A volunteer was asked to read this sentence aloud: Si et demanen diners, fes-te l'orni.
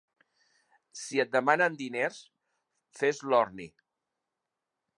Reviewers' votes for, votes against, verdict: 0, 2, rejected